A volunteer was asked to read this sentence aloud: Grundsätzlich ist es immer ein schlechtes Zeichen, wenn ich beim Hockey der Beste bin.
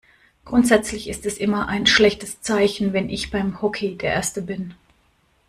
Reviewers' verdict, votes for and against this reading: rejected, 0, 2